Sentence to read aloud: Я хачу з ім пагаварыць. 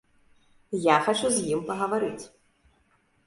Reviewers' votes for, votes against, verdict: 2, 0, accepted